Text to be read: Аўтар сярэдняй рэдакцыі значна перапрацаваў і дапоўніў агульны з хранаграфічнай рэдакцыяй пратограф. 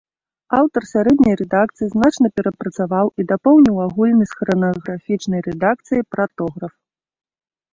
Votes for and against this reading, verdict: 2, 0, accepted